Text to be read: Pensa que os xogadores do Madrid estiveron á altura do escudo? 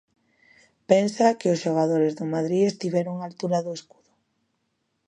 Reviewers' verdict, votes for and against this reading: rejected, 0, 2